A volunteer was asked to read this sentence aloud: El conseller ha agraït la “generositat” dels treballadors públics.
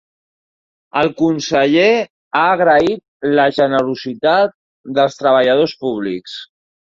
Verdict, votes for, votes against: accepted, 5, 0